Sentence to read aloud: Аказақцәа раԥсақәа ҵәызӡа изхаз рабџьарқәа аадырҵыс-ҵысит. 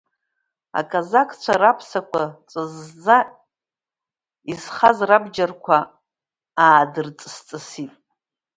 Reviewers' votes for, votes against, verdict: 2, 1, accepted